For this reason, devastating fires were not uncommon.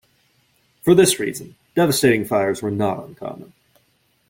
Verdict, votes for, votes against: rejected, 0, 2